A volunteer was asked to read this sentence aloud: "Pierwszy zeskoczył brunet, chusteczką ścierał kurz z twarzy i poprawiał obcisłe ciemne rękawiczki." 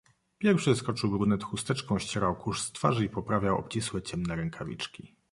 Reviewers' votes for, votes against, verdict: 1, 2, rejected